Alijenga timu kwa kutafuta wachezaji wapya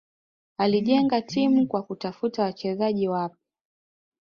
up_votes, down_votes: 2, 1